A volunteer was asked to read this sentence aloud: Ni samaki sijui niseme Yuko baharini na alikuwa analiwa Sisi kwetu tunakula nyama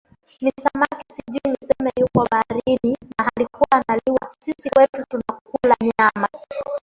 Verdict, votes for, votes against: rejected, 0, 2